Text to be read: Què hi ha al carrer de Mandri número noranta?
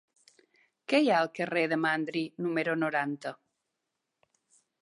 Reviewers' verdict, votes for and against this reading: accepted, 3, 0